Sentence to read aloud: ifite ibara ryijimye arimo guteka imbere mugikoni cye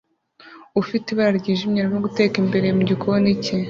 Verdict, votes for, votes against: rejected, 1, 2